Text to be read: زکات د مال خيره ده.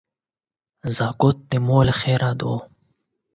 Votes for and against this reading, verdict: 8, 4, accepted